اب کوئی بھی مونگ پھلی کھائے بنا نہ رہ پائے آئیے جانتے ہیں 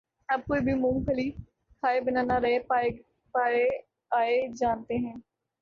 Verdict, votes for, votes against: rejected, 0, 3